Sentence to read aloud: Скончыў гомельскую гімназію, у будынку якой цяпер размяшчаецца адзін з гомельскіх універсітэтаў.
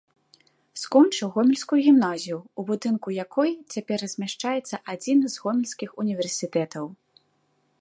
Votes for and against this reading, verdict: 2, 0, accepted